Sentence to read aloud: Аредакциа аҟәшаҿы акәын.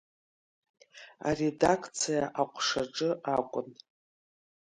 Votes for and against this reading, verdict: 3, 1, accepted